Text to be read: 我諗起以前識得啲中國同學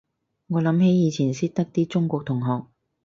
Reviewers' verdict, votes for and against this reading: accepted, 4, 0